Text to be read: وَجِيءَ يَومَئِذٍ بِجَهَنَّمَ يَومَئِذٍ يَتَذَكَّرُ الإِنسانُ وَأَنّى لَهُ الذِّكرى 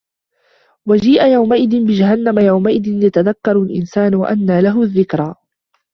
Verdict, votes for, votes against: rejected, 1, 2